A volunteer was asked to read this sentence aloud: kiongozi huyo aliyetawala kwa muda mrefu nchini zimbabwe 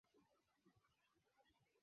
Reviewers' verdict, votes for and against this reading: rejected, 0, 2